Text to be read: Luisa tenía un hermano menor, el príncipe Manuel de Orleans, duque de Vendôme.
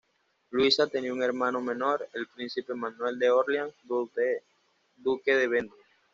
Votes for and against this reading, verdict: 2, 1, accepted